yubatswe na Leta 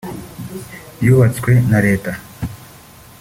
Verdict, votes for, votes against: accepted, 2, 0